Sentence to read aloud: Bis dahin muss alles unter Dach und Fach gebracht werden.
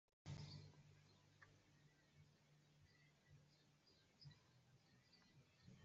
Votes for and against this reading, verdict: 0, 2, rejected